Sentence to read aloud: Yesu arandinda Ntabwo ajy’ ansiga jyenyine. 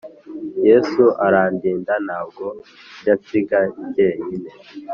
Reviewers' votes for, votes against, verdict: 2, 0, accepted